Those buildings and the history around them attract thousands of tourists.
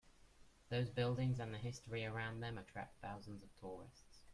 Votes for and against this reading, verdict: 0, 2, rejected